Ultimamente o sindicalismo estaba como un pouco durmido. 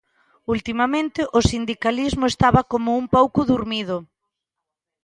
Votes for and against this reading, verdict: 2, 0, accepted